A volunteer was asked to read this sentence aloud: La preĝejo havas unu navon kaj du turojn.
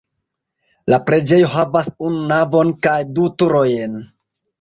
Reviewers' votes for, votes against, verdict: 0, 2, rejected